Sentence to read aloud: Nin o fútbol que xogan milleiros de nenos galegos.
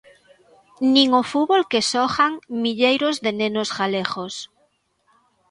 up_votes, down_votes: 2, 0